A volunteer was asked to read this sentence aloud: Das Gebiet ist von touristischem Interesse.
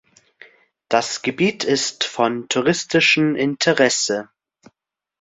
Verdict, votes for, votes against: accepted, 2, 1